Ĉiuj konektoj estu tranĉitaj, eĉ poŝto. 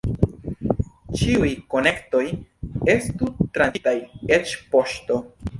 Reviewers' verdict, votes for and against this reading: rejected, 2, 3